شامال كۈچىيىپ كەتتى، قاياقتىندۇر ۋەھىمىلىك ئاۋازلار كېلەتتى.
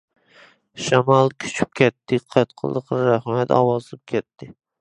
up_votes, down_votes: 0, 2